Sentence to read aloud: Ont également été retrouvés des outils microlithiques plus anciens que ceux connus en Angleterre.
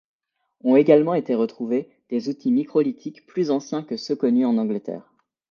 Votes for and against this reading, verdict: 2, 0, accepted